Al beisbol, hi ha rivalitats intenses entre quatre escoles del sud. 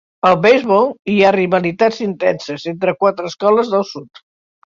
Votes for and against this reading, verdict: 3, 0, accepted